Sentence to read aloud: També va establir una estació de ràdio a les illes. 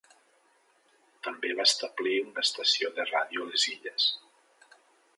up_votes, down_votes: 3, 0